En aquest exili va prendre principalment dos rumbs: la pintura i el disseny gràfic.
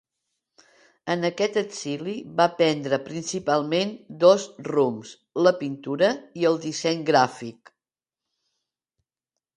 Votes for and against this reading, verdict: 2, 0, accepted